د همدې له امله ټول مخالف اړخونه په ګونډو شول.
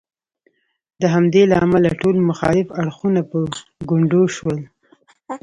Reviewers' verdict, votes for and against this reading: accepted, 2, 0